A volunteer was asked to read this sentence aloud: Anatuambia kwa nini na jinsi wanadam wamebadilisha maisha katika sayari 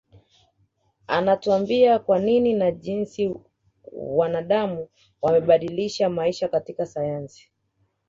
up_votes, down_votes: 1, 2